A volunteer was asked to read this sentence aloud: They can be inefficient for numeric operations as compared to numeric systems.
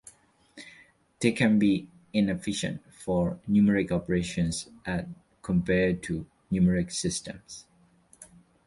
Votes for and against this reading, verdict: 1, 2, rejected